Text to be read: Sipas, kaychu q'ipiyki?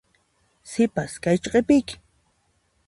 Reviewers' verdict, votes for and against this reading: accepted, 2, 0